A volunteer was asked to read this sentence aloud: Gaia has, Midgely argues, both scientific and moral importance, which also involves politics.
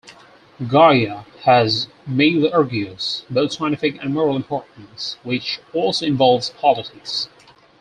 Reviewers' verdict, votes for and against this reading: rejected, 0, 4